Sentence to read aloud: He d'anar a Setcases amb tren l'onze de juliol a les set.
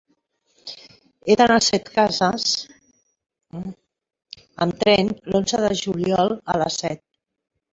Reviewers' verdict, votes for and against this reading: accepted, 3, 0